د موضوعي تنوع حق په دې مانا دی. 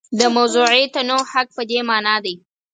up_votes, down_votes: 4, 2